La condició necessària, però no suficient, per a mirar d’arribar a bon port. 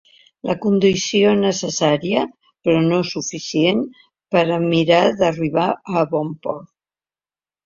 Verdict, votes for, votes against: accepted, 2, 0